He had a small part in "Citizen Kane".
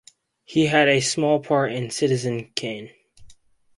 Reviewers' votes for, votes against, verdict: 4, 0, accepted